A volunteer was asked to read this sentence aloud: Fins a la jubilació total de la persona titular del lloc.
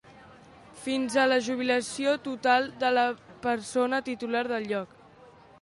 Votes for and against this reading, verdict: 2, 0, accepted